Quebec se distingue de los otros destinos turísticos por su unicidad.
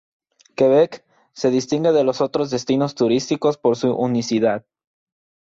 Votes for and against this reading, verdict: 2, 0, accepted